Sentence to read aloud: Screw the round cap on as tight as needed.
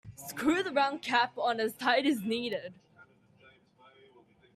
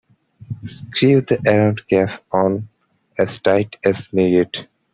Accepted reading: first